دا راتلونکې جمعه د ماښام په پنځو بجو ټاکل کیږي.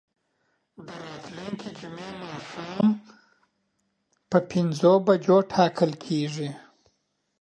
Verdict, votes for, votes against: rejected, 0, 2